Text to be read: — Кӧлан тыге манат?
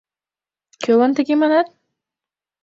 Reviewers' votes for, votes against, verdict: 2, 0, accepted